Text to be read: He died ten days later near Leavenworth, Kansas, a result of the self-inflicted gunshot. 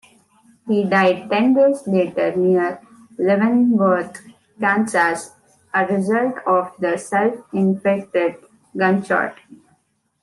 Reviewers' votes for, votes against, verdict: 2, 0, accepted